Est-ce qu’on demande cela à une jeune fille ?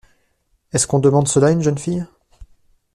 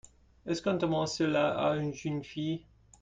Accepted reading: first